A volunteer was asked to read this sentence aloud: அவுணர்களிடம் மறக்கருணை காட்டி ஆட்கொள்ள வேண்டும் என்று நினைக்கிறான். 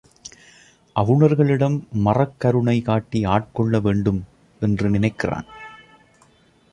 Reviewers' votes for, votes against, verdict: 3, 0, accepted